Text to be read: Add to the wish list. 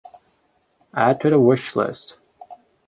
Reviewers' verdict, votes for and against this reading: accepted, 2, 0